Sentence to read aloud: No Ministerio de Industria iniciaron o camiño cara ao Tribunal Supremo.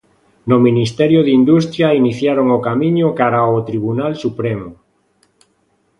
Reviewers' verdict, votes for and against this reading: accepted, 2, 0